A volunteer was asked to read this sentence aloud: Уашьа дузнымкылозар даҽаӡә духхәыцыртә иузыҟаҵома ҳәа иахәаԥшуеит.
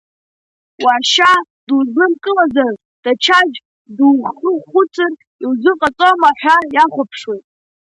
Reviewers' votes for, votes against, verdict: 2, 1, accepted